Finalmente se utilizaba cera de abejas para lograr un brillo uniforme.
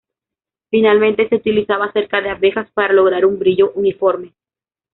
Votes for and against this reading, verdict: 1, 2, rejected